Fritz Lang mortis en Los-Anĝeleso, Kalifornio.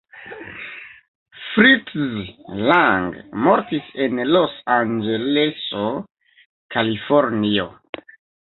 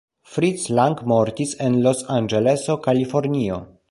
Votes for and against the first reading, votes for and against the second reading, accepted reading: 1, 2, 2, 0, second